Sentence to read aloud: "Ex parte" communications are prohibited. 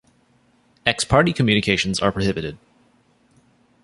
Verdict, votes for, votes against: rejected, 1, 2